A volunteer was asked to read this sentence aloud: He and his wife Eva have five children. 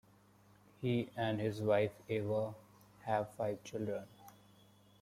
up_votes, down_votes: 2, 0